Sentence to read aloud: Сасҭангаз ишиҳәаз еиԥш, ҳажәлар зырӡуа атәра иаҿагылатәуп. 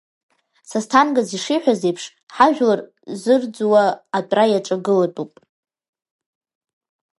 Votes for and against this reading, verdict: 1, 2, rejected